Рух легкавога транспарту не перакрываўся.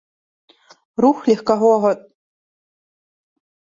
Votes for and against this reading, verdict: 0, 2, rejected